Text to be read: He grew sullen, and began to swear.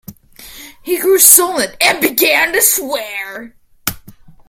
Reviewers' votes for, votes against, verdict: 0, 2, rejected